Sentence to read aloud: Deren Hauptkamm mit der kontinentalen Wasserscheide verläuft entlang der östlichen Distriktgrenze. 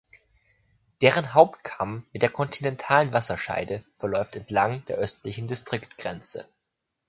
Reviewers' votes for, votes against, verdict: 2, 0, accepted